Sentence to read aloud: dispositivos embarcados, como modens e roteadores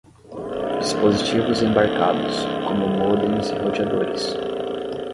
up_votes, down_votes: 5, 5